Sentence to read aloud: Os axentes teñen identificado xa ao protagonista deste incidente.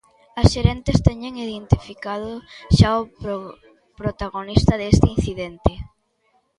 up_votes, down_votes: 0, 2